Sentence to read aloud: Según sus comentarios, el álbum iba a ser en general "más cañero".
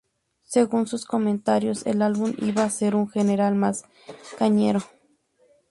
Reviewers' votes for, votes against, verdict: 0, 2, rejected